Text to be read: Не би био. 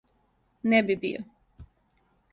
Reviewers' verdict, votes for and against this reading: accepted, 2, 0